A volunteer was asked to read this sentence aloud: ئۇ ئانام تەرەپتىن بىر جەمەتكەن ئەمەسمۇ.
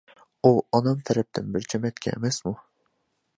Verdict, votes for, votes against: accepted, 2, 0